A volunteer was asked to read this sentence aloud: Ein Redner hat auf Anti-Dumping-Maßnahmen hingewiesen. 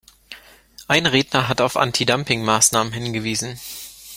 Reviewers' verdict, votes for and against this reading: accepted, 2, 0